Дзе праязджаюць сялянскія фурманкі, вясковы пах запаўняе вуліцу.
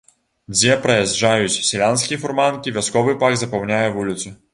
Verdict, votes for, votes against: accepted, 2, 1